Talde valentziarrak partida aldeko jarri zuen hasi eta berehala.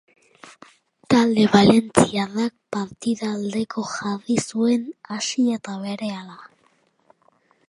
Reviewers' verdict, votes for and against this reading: rejected, 2, 2